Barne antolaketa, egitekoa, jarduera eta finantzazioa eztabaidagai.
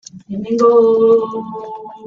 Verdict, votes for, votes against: rejected, 0, 3